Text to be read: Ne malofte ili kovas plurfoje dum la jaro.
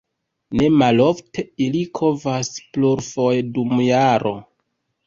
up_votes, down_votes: 1, 2